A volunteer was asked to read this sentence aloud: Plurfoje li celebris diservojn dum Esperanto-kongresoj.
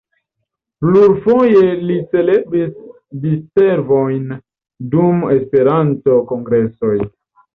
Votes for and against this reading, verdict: 2, 0, accepted